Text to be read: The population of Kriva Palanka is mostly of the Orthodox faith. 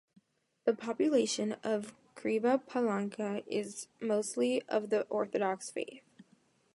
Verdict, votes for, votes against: accepted, 2, 0